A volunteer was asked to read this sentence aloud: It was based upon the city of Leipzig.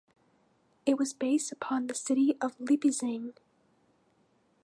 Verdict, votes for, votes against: rejected, 1, 2